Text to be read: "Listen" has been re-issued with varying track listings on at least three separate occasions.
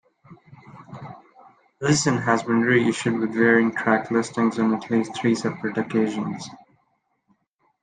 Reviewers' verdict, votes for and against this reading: accepted, 2, 1